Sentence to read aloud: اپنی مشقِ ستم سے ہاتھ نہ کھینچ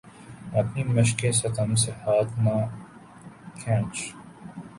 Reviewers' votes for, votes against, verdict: 4, 0, accepted